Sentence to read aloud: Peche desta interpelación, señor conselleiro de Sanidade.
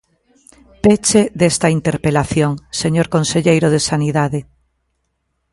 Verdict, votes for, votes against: accepted, 2, 0